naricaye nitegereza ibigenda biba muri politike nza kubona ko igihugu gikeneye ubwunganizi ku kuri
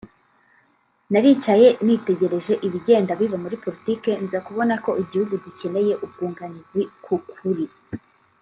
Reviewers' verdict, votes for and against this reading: rejected, 1, 2